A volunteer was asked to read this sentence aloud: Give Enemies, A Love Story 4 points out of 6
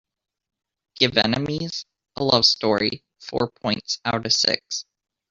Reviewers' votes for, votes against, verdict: 0, 2, rejected